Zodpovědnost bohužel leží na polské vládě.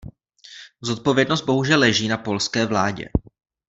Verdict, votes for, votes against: accepted, 2, 0